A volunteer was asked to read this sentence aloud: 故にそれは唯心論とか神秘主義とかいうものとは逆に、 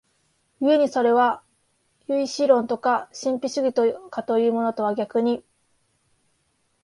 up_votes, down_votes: 1, 2